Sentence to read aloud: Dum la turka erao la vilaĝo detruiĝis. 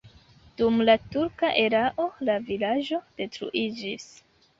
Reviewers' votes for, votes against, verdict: 0, 2, rejected